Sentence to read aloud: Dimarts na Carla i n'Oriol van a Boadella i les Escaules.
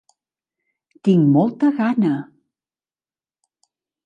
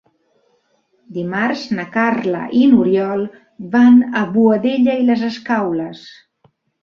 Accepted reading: second